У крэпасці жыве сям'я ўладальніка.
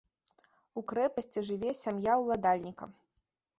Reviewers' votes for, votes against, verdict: 2, 0, accepted